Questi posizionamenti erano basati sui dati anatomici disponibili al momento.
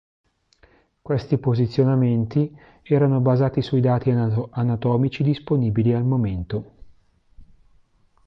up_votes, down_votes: 1, 2